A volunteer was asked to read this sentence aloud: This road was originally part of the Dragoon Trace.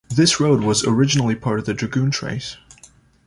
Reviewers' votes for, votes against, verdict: 2, 0, accepted